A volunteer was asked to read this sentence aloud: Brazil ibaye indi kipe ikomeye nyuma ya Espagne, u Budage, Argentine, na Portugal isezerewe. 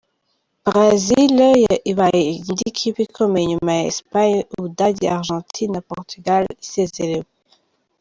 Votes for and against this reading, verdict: 2, 0, accepted